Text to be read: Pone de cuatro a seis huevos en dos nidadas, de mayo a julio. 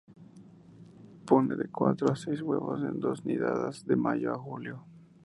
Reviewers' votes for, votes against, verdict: 2, 0, accepted